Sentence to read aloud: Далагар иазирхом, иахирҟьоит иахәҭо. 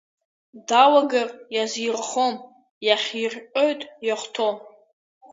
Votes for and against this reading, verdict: 2, 0, accepted